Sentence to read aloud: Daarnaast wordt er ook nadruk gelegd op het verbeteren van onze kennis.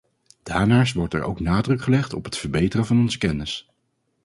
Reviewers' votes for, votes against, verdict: 4, 0, accepted